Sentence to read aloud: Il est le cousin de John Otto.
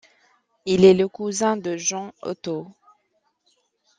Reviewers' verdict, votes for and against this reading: accepted, 2, 1